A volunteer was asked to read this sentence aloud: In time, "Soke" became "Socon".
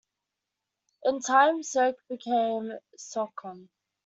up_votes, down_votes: 2, 0